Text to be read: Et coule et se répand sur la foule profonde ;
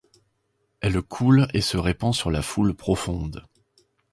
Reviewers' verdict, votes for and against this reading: rejected, 0, 2